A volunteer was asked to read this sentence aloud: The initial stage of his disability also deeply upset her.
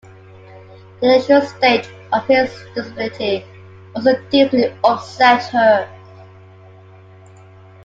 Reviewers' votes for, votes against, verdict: 0, 2, rejected